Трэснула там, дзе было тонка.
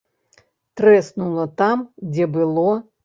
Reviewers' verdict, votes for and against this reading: rejected, 1, 2